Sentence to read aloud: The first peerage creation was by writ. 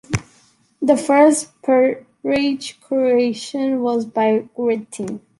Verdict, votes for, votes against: rejected, 0, 2